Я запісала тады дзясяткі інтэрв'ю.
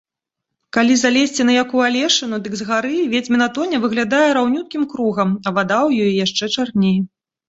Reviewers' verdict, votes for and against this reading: rejected, 0, 2